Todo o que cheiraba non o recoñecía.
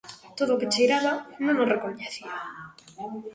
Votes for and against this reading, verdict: 2, 0, accepted